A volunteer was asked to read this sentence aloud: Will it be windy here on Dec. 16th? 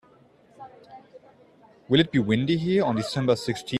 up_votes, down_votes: 0, 2